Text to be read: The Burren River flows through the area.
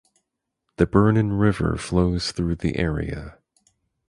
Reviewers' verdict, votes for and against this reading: rejected, 0, 4